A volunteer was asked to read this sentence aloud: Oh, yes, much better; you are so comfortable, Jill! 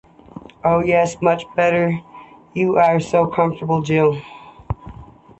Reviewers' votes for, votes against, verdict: 2, 0, accepted